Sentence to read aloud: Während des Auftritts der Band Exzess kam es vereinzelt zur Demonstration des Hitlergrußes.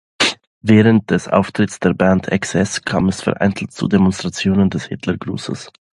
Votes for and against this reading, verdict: 0, 2, rejected